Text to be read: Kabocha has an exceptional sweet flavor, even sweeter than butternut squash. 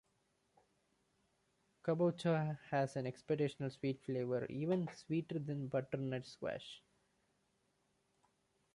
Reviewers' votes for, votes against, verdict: 0, 2, rejected